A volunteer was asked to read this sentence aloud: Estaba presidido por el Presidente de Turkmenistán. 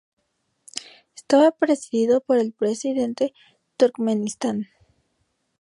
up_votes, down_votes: 0, 2